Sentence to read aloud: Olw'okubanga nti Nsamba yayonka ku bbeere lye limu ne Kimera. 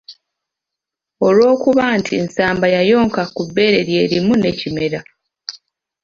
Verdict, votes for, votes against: accepted, 2, 0